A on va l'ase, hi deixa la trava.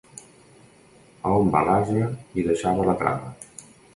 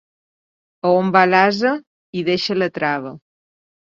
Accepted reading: second